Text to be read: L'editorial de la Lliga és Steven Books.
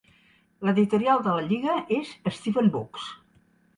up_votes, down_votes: 2, 0